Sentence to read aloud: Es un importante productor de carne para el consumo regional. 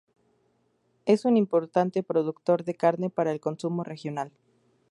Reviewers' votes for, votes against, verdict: 0, 2, rejected